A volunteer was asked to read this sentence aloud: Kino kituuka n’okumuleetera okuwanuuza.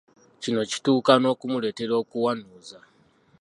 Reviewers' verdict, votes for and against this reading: accepted, 2, 1